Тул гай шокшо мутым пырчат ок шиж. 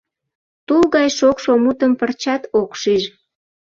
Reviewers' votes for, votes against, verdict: 2, 0, accepted